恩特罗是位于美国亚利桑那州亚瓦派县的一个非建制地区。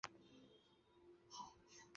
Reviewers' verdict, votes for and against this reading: rejected, 0, 3